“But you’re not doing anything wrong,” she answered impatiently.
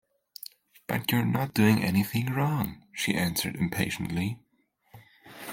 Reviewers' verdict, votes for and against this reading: accepted, 2, 0